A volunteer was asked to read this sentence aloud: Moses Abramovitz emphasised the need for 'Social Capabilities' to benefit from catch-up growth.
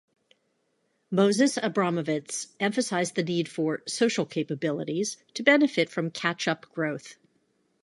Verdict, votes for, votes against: accepted, 2, 0